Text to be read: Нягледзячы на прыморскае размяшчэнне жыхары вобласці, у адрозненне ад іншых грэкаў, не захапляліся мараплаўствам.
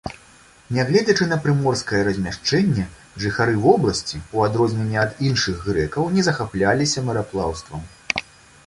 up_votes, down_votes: 2, 0